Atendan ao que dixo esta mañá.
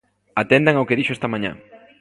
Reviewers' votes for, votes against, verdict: 2, 0, accepted